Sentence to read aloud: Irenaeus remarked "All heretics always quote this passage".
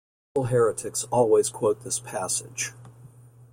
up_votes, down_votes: 0, 2